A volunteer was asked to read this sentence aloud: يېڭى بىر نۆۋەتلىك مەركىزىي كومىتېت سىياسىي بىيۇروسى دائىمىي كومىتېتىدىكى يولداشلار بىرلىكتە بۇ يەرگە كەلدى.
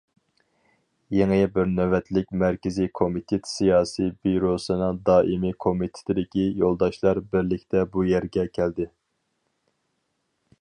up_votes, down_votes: 2, 2